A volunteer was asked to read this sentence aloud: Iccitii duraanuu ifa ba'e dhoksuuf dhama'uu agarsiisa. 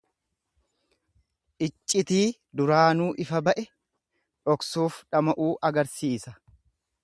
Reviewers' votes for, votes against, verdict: 2, 0, accepted